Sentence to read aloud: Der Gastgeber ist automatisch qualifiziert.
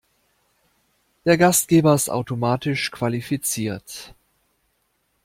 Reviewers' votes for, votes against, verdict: 2, 0, accepted